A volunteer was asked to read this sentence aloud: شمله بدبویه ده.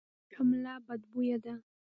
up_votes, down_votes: 2, 1